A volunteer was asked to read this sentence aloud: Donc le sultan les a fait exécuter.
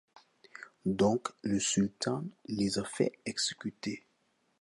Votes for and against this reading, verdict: 2, 0, accepted